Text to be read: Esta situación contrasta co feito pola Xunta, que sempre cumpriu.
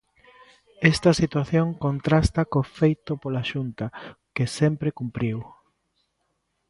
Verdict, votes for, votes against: rejected, 1, 2